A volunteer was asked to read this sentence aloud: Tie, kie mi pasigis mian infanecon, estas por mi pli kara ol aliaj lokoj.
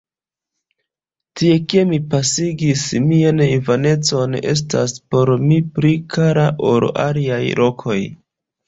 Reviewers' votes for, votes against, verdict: 2, 0, accepted